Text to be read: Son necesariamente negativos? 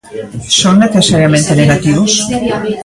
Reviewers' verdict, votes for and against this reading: rejected, 1, 2